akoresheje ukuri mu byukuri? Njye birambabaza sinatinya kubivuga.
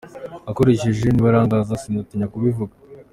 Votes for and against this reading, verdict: 2, 1, accepted